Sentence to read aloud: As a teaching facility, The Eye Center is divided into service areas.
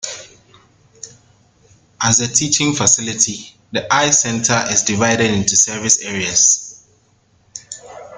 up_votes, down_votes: 2, 0